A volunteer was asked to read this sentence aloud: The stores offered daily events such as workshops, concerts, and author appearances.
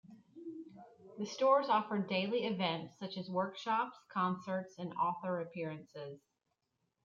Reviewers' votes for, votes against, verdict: 2, 0, accepted